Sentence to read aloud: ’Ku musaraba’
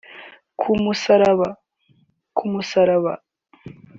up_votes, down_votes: 1, 2